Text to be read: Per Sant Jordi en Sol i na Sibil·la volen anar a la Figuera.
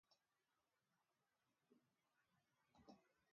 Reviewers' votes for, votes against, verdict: 0, 2, rejected